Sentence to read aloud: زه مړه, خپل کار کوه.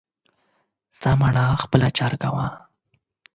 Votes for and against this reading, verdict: 0, 8, rejected